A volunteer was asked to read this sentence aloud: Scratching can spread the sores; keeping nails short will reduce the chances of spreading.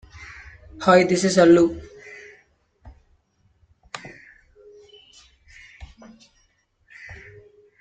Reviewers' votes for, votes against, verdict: 0, 2, rejected